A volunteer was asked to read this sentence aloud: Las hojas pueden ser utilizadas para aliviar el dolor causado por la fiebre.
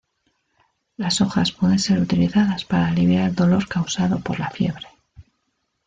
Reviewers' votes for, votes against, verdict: 2, 0, accepted